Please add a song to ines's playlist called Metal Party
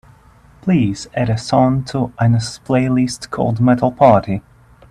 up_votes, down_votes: 1, 2